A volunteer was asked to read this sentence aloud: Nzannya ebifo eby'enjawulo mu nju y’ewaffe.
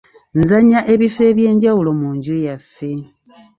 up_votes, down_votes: 1, 2